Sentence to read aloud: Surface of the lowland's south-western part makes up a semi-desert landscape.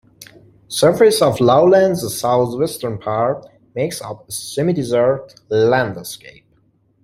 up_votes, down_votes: 0, 3